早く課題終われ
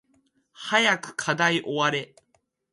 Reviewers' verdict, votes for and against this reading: accepted, 3, 0